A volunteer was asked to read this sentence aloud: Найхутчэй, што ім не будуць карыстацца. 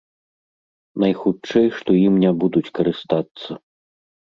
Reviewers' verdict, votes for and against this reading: accepted, 3, 0